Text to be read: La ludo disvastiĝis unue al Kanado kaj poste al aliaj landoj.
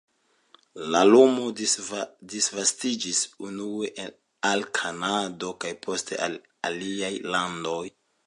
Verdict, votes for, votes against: rejected, 0, 2